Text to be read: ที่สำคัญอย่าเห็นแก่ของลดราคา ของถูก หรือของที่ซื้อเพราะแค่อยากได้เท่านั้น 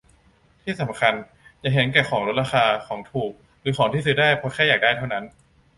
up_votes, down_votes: 0, 2